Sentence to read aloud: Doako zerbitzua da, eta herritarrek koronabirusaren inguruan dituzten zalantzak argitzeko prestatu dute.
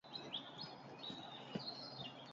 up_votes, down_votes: 0, 12